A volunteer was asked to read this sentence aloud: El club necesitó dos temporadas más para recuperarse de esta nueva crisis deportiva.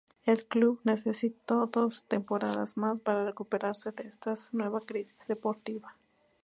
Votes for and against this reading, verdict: 0, 2, rejected